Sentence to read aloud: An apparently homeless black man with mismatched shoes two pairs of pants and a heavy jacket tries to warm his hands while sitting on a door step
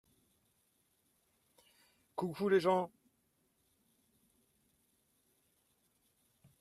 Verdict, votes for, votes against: rejected, 0, 2